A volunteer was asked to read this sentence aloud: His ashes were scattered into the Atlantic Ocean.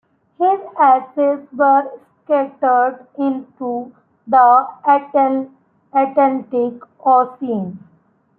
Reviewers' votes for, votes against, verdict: 0, 2, rejected